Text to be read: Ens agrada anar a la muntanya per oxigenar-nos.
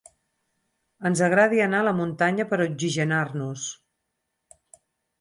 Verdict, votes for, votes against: rejected, 0, 4